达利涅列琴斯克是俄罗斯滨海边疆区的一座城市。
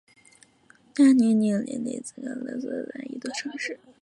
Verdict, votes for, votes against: accepted, 3, 0